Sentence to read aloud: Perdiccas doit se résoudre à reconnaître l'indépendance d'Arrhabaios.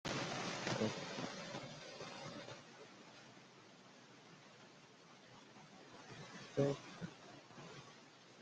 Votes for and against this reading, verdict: 0, 2, rejected